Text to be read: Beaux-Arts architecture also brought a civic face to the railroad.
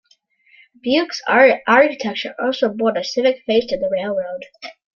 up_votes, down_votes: 1, 2